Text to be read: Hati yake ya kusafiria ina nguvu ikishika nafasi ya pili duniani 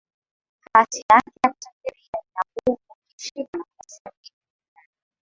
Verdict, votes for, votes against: rejected, 0, 2